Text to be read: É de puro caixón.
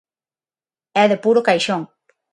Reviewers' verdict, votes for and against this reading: accepted, 6, 0